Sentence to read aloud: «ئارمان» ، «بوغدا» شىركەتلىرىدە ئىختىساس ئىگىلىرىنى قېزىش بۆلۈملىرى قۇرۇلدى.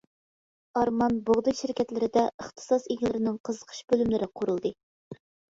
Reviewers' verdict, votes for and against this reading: rejected, 1, 2